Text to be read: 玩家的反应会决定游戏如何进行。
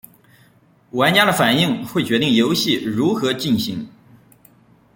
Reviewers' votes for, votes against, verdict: 2, 0, accepted